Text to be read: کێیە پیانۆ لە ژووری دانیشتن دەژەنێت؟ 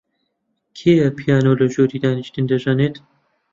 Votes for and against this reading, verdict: 2, 0, accepted